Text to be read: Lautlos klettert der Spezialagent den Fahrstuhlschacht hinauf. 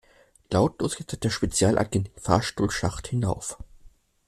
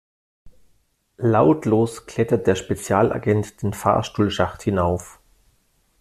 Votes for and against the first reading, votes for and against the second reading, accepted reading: 0, 2, 2, 0, second